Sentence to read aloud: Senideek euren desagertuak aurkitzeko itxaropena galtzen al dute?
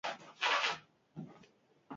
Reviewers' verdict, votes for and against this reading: rejected, 0, 14